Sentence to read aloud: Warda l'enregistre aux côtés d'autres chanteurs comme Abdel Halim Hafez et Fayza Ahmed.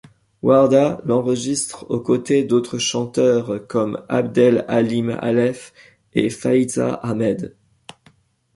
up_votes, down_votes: 1, 2